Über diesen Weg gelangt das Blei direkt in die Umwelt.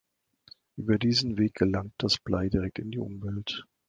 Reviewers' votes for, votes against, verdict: 2, 0, accepted